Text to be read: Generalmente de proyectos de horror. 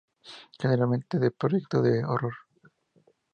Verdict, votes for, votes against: accepted, 2, 0